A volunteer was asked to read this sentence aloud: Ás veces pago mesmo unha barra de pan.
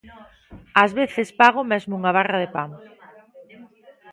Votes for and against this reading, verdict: 1, 2, rejected